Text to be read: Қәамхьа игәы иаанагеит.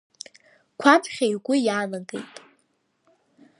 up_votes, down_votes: 1, 2